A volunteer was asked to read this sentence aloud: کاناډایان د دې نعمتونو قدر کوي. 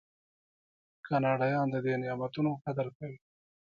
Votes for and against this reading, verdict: 0, 2, rejected